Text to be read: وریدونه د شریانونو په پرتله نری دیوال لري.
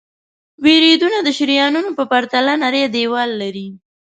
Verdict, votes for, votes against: accepted, 2, 0